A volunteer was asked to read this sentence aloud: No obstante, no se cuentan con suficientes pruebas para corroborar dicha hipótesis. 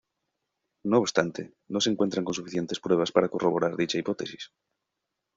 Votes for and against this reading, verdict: 1, 2, rejected